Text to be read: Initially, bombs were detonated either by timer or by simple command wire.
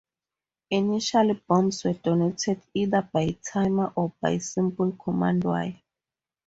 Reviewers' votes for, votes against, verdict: 4, 2, accepted